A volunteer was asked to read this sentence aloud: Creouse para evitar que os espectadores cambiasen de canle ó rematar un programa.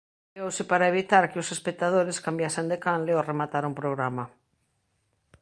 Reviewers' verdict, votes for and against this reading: rejected, 1, 2